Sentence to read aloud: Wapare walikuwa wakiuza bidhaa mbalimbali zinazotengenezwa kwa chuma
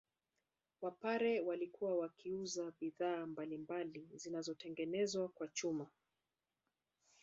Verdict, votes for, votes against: rejected, 1, 2